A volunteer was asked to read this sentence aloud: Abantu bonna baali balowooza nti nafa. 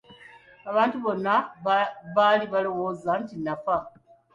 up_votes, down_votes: 2, 0